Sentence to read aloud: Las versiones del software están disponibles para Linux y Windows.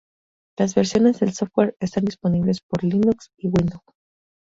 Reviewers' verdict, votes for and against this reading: rejected, 0, 2